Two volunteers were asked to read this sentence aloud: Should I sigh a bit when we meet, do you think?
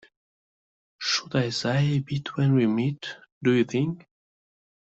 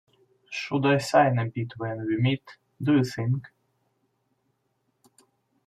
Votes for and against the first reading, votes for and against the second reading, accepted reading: 3, 0, 1, 2, first